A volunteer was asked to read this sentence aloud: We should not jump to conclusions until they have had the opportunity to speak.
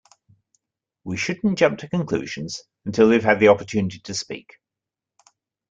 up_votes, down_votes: 2, 1